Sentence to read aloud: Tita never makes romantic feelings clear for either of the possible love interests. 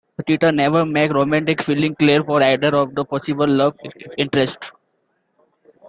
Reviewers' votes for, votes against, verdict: 2, 1, accepted